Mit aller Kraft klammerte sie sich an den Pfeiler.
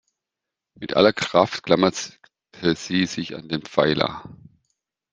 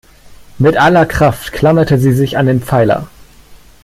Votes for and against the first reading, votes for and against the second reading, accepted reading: 1, 2, 2, 0, second